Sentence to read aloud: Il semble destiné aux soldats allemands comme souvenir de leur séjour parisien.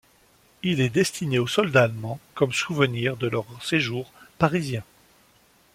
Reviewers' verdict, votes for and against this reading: rejected, 0, 2